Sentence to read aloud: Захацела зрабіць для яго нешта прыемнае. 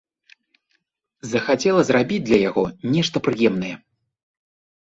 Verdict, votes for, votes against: accepted, 2, 0